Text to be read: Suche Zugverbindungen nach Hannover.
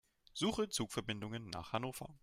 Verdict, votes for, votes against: rejected, 1, 2